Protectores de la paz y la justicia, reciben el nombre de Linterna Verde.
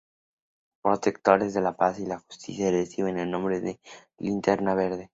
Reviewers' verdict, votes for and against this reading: accepted, 2, 0